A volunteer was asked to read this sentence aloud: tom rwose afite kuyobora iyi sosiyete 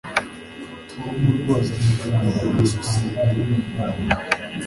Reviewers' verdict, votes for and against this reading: accepted, 2, 0